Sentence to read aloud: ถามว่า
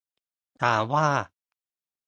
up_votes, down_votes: 3, 0